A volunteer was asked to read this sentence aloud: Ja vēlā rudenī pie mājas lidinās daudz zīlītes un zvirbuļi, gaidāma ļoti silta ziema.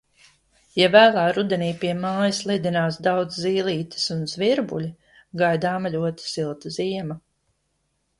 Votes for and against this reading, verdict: 2, 0, accepted